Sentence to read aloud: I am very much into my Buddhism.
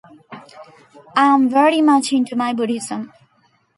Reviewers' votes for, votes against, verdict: 0, 2, rejected